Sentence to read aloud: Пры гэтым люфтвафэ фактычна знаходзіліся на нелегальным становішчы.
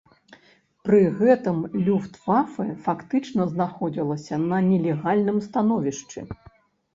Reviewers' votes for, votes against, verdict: 1, 2, rejected